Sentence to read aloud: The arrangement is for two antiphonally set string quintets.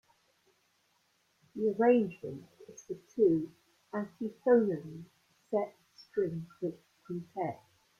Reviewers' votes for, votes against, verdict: 1, 2, rejected